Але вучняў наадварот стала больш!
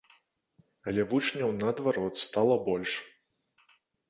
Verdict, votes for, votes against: rejected, 0, 2